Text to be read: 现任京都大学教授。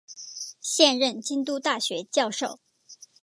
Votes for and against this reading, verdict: 2, 0, accepted